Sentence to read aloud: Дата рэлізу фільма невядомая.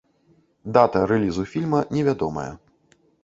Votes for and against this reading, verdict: 2, 0, accepted